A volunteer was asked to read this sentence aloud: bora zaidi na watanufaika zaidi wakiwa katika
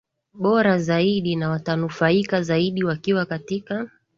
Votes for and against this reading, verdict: 2, 1, accepted